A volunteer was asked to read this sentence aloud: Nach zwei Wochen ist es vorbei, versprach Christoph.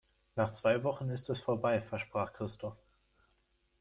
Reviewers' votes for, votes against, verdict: 2, 0, accepted